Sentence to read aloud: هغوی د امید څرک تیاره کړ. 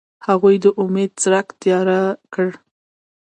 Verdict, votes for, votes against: rejected, 1, 2